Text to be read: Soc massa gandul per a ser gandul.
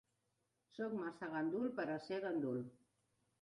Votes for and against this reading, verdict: 3, 0, accepted